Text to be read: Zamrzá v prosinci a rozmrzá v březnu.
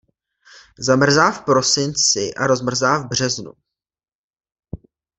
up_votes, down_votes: 2, 0